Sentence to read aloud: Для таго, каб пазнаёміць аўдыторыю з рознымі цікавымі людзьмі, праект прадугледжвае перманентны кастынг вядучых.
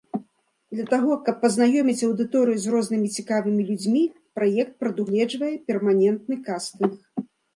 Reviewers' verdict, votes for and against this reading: rejected, 0, 2